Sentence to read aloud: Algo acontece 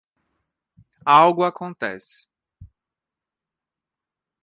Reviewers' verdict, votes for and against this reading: accepted, 2, 0